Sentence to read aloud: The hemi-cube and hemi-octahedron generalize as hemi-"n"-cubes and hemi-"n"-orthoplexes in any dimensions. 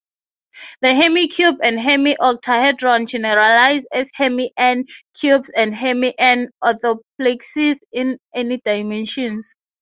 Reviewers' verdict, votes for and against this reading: accepted, 6, 0